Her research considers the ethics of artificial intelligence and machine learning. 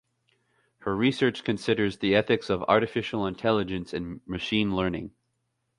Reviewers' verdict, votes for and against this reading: accepted, 2, 0